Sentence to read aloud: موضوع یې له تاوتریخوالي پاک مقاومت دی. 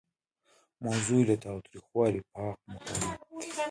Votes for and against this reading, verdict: 0, 2, rejected